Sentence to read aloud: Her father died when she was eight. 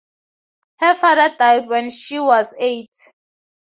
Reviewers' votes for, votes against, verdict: 2, 0, accepted